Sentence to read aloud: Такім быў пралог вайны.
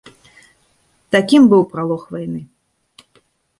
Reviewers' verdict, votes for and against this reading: accepted, 2, 0